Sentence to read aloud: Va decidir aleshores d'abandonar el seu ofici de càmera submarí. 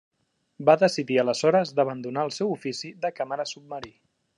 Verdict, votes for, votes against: accepted, 2, 0